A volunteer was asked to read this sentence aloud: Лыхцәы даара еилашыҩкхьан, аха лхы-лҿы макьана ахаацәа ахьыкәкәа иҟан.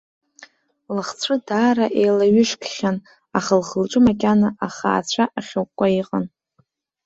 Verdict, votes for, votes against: rejected, 1, 2